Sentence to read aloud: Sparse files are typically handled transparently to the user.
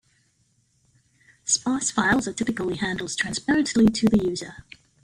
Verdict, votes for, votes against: accepted, 2, 0